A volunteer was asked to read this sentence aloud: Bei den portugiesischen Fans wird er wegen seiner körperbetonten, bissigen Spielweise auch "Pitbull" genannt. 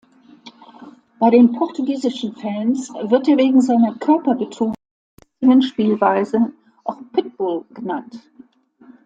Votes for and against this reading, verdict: 1, 2, rejected